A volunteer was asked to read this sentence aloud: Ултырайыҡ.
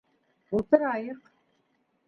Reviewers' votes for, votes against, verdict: 1, 2, rejected